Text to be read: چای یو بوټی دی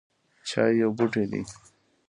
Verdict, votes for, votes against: accepted, 2, 1